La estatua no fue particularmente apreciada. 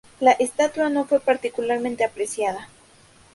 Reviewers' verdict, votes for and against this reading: accepted, 2, 0